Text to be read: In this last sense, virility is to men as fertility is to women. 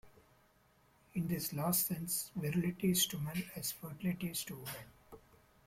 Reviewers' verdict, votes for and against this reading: accepted, 2, 1